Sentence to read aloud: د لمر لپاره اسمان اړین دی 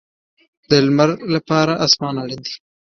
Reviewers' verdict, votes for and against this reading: accepted, 3, 0